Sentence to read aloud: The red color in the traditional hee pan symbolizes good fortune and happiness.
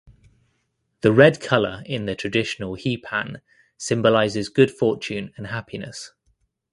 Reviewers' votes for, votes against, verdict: 2, 0, accepted